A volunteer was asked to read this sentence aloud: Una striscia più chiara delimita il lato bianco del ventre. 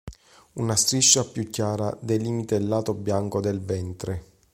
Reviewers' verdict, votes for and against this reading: accepted, 2, 0